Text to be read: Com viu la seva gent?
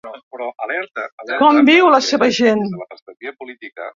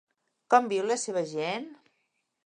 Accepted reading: second